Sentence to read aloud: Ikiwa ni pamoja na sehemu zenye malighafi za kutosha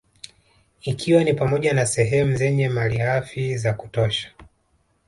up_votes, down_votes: 0, 2